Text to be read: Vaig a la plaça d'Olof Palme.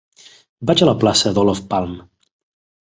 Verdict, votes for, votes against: accepted, 2, 1